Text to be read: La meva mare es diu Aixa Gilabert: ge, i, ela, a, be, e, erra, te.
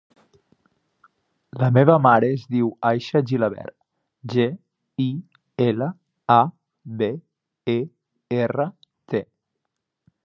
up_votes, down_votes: 2, 0